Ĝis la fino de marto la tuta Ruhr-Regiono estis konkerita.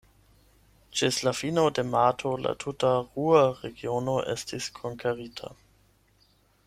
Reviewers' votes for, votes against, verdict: 0, 8, rejected